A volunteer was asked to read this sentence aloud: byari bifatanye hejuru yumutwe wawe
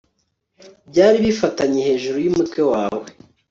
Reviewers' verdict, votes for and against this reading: accepted, 2, 0